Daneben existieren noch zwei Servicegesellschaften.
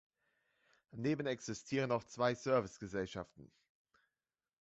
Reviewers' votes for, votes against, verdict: 2, 0, accepted